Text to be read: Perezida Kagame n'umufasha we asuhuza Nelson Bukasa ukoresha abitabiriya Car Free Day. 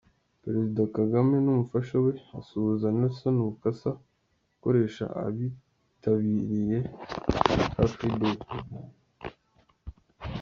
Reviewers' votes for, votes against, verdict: 2, 0, accepted